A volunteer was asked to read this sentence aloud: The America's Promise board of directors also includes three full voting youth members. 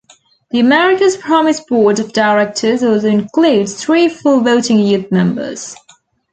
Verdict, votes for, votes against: accepted, 2, 0